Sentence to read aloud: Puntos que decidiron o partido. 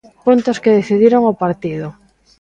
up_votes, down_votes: 2, 0